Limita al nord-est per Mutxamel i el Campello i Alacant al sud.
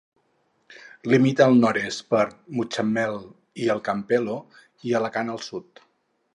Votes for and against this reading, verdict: 2, 4, rejected